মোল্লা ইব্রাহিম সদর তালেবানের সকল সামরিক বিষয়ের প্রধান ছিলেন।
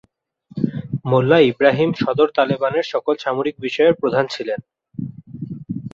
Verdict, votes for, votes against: accepted, 6, 1